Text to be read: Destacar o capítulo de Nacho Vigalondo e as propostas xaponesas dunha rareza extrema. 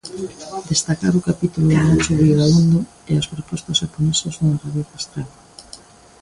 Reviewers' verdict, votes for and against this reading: rejected, 0, 2